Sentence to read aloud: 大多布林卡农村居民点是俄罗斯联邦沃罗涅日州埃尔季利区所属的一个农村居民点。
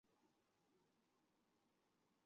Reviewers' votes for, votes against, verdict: 0, 4, rejected